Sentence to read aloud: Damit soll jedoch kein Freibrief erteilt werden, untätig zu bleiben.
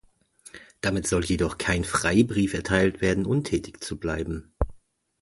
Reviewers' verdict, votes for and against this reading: accepted, 2, 0